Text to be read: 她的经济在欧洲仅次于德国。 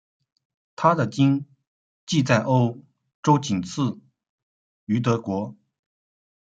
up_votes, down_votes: 2, 0